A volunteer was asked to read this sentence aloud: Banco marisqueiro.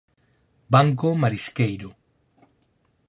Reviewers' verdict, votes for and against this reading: accepted, 4, 0